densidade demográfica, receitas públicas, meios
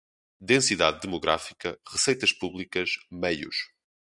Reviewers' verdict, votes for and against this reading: accepted, 2, 0